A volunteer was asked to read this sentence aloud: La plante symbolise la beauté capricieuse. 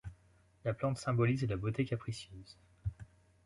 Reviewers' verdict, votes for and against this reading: accepted, 2, 1